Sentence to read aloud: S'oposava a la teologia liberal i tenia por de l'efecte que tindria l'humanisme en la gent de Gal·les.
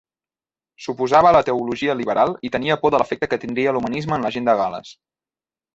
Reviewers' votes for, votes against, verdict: 2, 0, accepted